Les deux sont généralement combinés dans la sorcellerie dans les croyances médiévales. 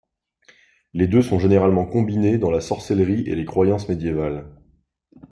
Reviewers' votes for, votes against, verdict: 1, 2, rejected